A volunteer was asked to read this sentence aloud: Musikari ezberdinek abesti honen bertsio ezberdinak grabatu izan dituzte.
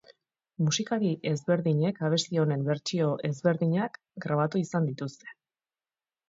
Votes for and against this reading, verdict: 4, 0, accepted